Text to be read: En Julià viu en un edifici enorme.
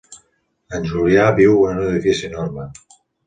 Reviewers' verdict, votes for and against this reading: accepted, 2, 0